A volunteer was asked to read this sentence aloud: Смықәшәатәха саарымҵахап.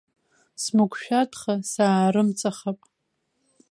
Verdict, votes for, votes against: rejected, 1, 2